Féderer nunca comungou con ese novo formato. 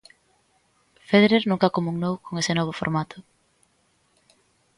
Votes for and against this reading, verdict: 0, 2, rejected